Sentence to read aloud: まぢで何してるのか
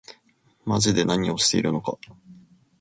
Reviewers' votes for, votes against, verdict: 0, 2, rejected